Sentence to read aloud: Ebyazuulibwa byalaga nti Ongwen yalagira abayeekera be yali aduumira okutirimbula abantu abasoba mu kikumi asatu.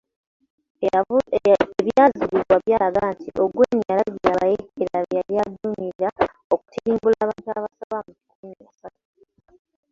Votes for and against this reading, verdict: 0, 2, rejected